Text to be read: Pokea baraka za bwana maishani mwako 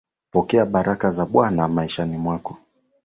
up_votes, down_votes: 2, 0